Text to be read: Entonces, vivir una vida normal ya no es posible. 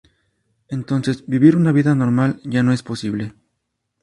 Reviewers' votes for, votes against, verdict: 0, 2, rejected